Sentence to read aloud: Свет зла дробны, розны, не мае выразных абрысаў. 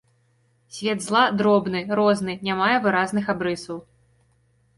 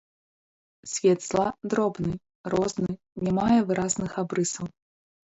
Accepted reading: first